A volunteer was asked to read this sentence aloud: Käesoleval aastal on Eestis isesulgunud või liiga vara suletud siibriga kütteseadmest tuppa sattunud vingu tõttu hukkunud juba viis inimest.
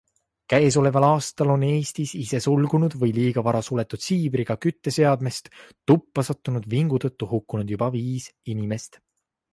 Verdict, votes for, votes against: accepted, 2, 0